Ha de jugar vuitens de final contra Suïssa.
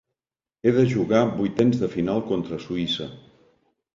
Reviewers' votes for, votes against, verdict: 1, 2, rejected